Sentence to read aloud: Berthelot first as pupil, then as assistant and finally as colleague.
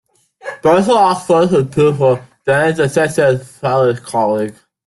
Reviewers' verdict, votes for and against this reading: rejected, 0, 2